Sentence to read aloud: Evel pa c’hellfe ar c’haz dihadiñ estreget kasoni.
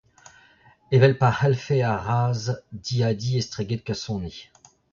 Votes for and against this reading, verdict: 0, 2, rejected